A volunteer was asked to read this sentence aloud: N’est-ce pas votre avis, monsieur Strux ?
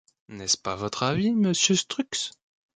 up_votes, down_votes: 2, 0